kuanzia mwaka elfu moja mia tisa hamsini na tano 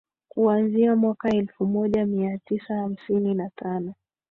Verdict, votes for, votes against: rejected, 1, 2